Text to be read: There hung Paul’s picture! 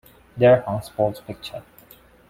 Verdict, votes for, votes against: rejected, 1, 2